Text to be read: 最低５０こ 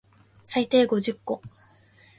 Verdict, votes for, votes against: rejected, 0, 2